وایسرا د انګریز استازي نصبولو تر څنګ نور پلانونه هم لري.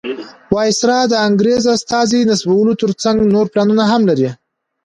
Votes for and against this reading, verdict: 2, 0, accepted